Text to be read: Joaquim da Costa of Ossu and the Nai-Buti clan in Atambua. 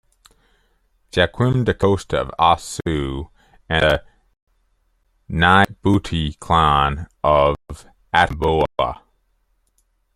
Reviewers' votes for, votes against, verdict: 0, 2, rejected